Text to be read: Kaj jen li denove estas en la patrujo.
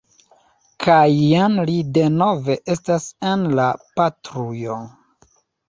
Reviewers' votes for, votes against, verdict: 2, 1, accepted